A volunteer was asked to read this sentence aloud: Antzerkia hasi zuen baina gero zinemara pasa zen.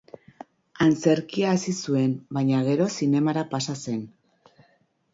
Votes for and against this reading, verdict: 2, 0, accepted